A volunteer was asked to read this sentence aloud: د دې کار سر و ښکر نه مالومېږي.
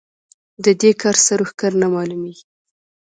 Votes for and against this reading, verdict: 2, 0, accepted